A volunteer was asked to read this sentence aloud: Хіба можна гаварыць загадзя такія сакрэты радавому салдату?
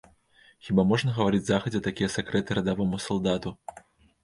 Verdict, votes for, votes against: accepted, 2, 0